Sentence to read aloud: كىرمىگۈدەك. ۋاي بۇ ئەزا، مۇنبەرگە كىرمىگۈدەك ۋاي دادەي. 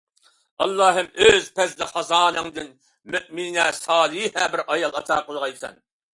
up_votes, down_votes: 0, 2